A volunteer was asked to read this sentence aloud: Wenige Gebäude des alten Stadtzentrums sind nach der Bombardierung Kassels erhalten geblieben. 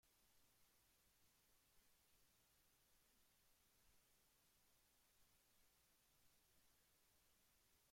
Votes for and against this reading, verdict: 0, 2, rejected